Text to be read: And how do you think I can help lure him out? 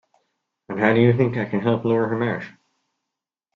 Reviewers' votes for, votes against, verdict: 0, 2, rejected